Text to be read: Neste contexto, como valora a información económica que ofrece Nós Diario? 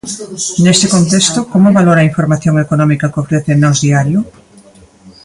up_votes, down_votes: 0, 2